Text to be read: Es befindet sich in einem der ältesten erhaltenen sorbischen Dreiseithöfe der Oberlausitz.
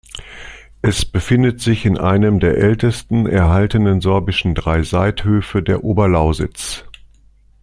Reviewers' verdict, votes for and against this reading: accepted, 2, 0